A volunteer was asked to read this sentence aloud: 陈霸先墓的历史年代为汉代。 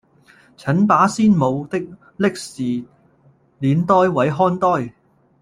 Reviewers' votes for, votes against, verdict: 0, 2, rejected